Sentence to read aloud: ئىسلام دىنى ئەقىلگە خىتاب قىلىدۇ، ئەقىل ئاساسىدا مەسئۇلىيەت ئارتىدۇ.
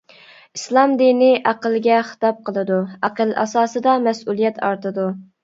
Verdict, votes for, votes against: accepted, 2, 0